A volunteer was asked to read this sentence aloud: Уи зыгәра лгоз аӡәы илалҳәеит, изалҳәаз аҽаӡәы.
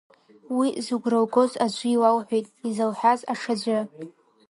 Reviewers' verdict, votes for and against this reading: rejected, 0, 2